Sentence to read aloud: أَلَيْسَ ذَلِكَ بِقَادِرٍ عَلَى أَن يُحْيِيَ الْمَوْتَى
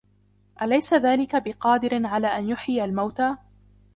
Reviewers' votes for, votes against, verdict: 2, 0, accepted